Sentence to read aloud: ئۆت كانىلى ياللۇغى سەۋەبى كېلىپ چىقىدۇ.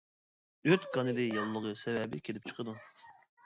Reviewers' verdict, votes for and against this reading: rejected, 1, 2